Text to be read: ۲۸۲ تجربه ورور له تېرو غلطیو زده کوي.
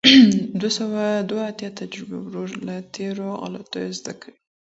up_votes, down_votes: 0, 2